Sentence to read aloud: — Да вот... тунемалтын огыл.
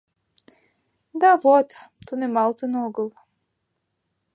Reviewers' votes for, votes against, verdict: 2, 0, accepted